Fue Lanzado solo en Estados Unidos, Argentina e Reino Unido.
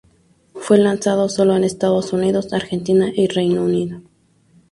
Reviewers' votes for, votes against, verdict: 2, 2, rejected